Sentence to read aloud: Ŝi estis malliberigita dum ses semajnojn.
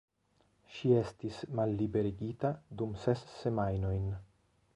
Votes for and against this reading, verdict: 2, 1, accepted